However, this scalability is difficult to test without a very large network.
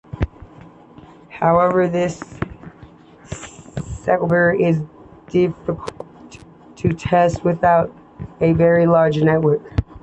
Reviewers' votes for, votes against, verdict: 0, 2, rejected